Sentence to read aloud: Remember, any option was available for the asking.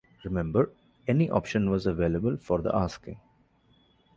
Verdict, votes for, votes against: accepted, 2, 0